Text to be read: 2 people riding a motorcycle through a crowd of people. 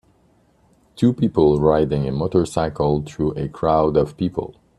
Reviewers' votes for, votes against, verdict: 0, 2, rejected